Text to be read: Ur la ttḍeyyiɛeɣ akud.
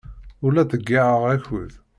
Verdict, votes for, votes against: rejected, 0, 2